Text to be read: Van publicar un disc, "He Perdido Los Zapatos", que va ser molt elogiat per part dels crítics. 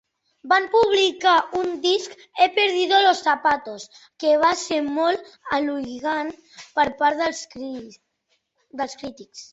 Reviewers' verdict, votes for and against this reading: rejected, 1, 2